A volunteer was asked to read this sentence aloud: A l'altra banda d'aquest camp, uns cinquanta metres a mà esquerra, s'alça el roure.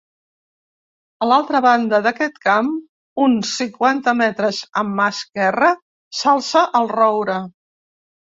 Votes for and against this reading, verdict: 2, 0, accepted